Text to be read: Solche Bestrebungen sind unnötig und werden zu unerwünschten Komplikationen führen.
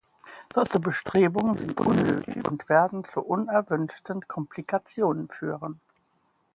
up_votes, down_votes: 1, 2